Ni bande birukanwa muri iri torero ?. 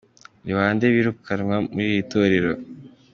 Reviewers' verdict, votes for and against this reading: accepted, 2, 1